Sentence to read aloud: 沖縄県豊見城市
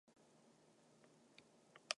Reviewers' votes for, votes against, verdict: 0, 2, rejected